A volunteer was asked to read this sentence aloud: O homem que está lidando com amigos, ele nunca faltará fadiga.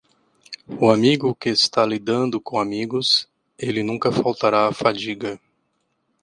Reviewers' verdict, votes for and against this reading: rejected, 0, 2